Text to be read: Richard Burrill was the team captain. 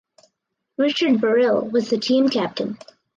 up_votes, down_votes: 4, 0